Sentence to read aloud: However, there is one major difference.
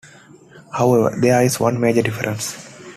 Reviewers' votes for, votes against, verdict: 2, 0, accepted